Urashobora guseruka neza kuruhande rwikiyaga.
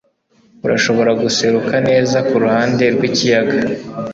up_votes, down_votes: 2, 0